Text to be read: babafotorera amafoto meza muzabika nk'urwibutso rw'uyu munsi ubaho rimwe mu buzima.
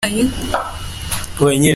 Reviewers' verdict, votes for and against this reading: rejected, 0, 2